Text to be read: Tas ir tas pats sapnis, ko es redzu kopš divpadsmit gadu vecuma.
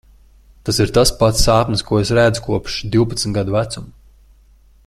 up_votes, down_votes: 2, 0